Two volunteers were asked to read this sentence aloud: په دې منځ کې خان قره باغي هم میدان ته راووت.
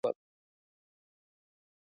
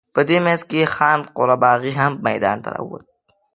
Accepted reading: second